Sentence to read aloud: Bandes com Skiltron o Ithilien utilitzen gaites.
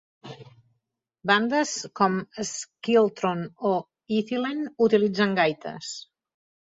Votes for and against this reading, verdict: 3, 1, accepted